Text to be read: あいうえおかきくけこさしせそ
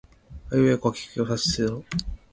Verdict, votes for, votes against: rejected, 1, 2